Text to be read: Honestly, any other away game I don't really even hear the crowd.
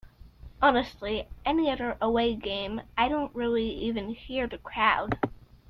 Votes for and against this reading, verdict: 2, 0, accepted